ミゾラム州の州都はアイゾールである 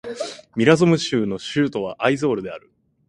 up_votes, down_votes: 3, 1